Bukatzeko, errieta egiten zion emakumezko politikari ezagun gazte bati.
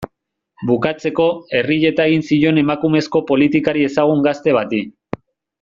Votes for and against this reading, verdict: 1, 2, rejected